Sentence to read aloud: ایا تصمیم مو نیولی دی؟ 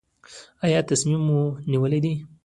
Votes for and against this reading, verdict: 2, 1, accepted